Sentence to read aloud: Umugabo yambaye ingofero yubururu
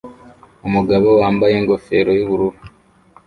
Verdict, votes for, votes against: rejected, 0, 2